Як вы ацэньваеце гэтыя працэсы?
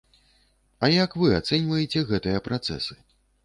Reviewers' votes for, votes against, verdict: 0, 2, rejected